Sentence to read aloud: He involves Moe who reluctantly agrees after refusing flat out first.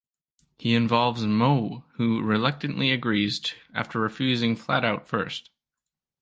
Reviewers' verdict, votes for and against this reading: rejected, 1, 2